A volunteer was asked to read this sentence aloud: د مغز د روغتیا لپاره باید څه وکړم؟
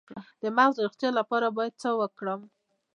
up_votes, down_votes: 1, 2